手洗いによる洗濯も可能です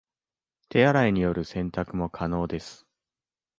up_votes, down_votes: 2, 0